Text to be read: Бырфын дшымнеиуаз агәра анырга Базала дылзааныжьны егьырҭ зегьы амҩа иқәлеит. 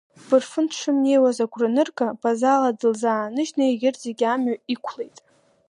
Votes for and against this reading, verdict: 2, 1, accepted